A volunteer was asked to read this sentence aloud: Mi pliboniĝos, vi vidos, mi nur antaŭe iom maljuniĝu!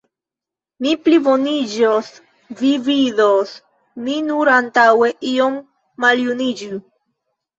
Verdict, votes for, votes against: accepted, 2, 0